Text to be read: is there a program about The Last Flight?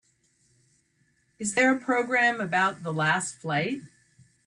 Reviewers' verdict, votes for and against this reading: accepted, 3, 0